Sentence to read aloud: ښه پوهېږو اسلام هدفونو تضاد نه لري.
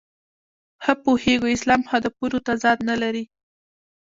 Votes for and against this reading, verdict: 1, 2, rejected